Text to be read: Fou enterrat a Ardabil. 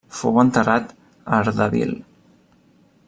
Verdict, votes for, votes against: accepted, 3, 0